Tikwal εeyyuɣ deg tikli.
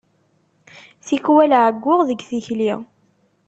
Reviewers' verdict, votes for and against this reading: accepted, 2, 0